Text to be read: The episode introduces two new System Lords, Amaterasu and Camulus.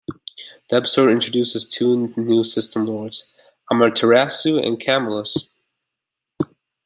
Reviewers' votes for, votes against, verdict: 2, 0, accepted